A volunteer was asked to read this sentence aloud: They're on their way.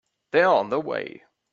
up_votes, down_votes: 2, 0